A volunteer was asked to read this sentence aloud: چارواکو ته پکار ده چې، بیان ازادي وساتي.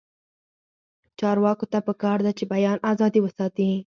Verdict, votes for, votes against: accepted, 4, 0